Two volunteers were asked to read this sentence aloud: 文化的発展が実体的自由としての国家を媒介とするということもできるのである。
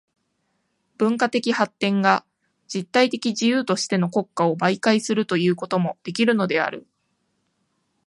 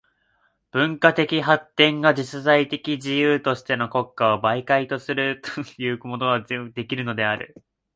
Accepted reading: first